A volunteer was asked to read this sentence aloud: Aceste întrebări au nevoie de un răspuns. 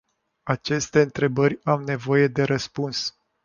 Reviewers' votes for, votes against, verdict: 1, 2, rejected